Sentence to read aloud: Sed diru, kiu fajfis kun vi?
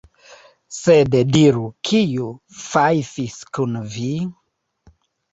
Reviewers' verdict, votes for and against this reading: rejected, 1, 3